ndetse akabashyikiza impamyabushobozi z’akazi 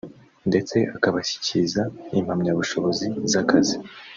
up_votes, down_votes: 1, 2